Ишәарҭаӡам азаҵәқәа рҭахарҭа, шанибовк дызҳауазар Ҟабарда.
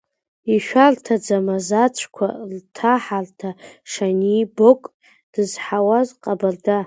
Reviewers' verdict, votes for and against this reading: rejected, 0, 2